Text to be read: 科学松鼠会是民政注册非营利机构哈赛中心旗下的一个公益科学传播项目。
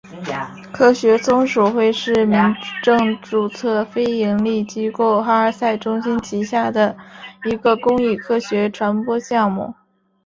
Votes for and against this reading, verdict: 2, 0, accepted